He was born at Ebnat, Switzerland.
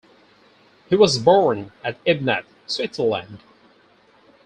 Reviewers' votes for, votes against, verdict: 2, 0, accepted